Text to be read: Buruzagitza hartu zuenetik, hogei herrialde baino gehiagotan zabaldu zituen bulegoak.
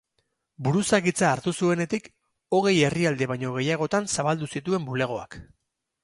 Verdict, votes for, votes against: accepted, 8, 0